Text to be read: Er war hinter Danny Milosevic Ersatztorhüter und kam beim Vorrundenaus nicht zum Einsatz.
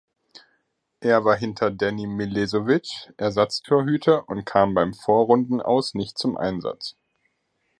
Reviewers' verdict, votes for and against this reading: rejected, 1, 2